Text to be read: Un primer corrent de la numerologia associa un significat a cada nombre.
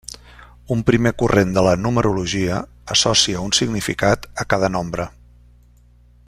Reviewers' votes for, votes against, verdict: 1, 2, rejected